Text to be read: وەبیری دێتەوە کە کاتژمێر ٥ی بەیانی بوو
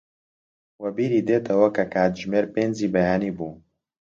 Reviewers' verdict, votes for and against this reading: rejected, 0, 2